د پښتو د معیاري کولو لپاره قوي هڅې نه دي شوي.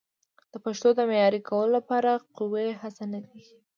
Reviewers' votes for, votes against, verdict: 1, 2, rejected